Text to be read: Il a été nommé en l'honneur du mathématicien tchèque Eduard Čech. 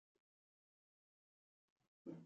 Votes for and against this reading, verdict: 0, 2, rejected